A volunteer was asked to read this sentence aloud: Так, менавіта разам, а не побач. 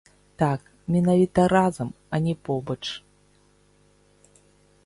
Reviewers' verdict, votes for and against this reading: accepted, 2, 0